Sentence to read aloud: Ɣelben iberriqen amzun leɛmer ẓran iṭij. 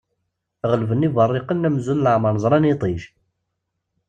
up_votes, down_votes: 2, 0